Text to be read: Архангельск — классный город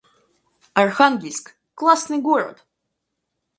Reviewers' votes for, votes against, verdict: 4, 0, accepted